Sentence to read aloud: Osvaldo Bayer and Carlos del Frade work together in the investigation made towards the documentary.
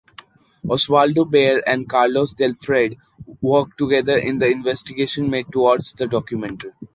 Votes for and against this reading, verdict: 1, 2, rejected